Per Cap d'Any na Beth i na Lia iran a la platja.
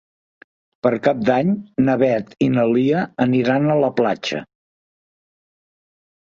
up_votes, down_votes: 0, 2